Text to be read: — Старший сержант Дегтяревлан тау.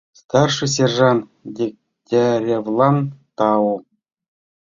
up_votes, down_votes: 2, 0